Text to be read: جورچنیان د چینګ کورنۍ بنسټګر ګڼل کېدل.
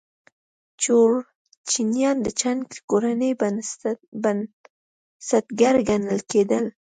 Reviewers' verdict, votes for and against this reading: rejected, 0, 2